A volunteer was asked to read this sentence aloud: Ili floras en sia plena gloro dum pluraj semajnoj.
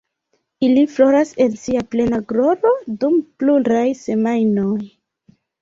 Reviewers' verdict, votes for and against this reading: accepted, 2, 0